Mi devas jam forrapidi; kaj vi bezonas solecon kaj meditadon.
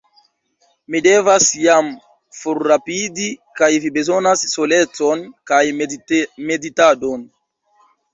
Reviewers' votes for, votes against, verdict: 1, 2, rejected